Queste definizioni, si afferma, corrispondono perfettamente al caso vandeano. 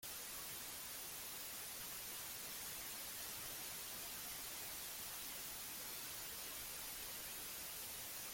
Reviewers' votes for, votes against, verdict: 0, 2, rejected